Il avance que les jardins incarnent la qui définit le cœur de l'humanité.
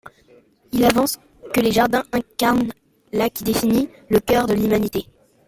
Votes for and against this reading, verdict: 2, 0, accepted